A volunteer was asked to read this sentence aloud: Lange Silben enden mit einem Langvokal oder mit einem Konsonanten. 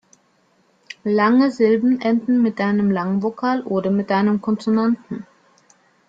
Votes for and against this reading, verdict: 2, 0, accepted